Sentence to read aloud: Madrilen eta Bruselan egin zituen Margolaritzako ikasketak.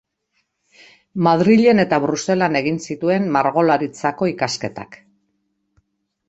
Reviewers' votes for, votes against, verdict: 2, 0, accepted